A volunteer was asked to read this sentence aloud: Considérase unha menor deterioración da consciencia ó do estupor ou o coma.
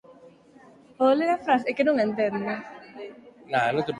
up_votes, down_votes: 0, 4